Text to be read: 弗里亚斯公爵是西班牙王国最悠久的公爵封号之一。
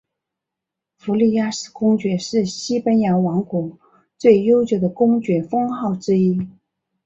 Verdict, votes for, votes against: accepted, 3, 0